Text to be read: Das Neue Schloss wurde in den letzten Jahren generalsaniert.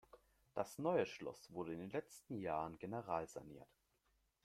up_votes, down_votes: 2, 1